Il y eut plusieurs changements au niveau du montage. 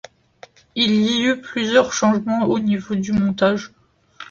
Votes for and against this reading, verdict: 2, 0, accepted